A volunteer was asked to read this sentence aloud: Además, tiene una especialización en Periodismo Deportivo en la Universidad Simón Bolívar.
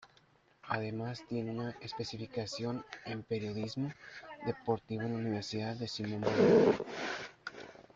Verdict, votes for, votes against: rejected, 0, 2